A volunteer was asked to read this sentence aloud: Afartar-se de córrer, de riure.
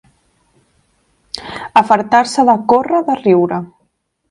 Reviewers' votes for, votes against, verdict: 3, 0, accepted